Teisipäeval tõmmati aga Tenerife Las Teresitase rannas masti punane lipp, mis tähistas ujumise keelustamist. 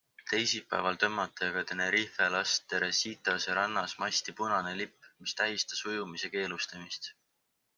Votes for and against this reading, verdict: 3, 0, accepted